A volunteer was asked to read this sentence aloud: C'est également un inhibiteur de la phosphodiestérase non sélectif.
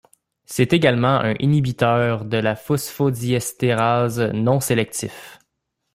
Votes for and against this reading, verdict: 0, 2, rejected